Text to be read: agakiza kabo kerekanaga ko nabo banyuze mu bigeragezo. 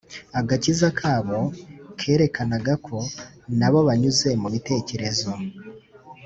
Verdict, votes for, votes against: rejected, 0, 2